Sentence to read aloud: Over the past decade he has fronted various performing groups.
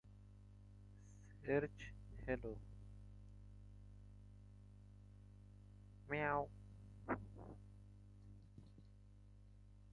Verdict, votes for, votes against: rejected, 0, 2